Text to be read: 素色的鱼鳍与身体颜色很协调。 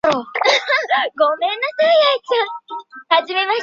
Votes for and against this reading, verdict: 0, 6, rejected